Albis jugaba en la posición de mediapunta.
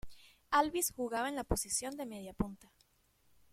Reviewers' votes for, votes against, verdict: 2, 0, accepted